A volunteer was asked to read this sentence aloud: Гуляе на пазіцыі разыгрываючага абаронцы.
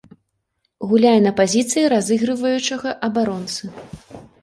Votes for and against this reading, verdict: 2, 0, accepted